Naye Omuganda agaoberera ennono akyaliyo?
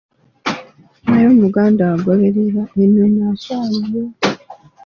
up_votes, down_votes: 1, 2